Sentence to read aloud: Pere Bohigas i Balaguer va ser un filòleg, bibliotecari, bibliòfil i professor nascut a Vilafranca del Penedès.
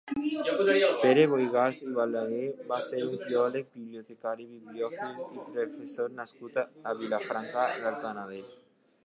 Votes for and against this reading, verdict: 0, 2, rejected